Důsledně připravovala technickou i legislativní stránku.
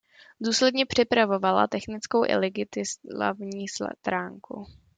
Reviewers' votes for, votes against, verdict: 0, 2, rejected